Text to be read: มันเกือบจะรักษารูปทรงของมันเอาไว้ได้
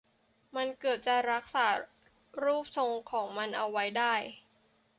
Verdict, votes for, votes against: accepted, 3, 1